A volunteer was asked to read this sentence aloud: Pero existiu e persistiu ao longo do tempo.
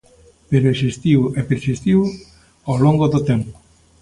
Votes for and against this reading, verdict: 2, 0, accepted